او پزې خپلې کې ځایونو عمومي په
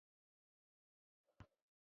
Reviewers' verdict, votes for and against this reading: rejected, 1, 2